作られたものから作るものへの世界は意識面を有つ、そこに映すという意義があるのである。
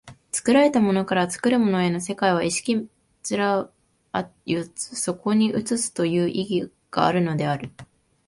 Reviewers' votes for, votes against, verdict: 0, 2, rejected